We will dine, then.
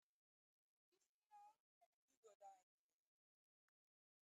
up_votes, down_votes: 0, 3